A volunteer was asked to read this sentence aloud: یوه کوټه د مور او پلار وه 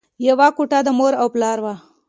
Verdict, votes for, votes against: accepted, 2, 0